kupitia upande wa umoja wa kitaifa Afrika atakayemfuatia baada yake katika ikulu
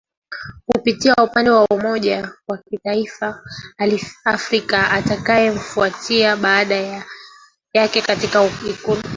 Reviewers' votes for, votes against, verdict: 1, 2, rejected